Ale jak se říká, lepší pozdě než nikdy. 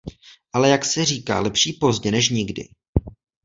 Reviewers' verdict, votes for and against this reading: accepted, 2, 0